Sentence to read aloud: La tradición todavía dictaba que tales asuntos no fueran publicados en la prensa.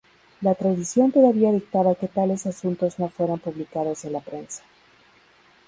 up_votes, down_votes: 2, 2